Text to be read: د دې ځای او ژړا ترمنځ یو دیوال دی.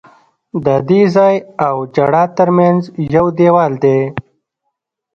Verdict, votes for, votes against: rejected, 2, 3